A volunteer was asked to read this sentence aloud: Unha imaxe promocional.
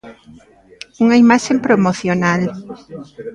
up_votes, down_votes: 0, 2